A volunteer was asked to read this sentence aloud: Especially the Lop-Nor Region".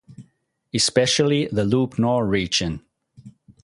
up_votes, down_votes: 4, 0